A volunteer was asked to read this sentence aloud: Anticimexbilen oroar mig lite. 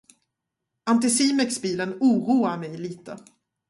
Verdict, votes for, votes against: rejected, 2, 2